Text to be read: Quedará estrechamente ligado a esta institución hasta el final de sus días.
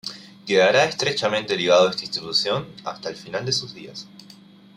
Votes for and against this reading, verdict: 2, 0, accepted